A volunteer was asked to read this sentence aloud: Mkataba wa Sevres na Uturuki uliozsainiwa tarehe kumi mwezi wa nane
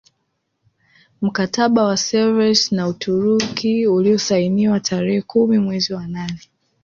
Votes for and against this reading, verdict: 2, 1, accepted